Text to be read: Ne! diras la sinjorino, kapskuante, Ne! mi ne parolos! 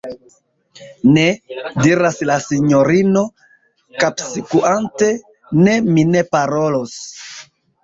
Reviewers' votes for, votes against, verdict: 0, 2, rejected